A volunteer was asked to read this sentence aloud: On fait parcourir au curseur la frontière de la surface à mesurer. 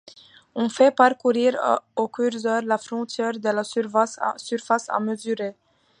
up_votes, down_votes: 0, 2